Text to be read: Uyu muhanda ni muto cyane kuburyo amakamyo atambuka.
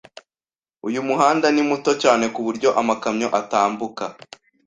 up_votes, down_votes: 2, 0